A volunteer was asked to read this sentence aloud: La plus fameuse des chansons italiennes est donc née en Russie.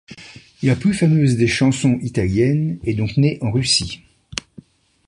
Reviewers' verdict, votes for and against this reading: accepted, 2, 0